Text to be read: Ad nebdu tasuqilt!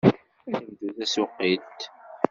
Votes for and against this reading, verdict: 1, 2, rejected